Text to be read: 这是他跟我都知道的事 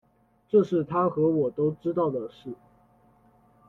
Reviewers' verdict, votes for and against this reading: accepted, 2, 1